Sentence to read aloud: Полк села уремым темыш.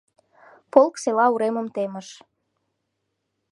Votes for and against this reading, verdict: 2, 0, accepted